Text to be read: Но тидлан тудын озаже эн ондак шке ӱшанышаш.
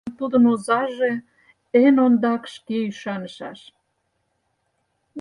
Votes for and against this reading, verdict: 0, 4, rejected